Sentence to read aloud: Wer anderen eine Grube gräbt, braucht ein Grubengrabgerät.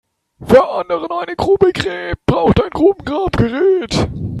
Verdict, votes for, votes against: rejected, 1, 3